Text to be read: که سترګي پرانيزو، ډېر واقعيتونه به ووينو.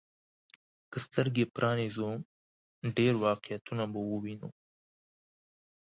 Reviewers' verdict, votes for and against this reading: accepted, 2, 0